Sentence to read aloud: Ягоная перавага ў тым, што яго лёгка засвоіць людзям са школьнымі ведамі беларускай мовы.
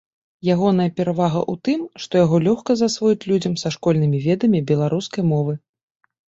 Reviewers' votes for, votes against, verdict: 2, 0, accepted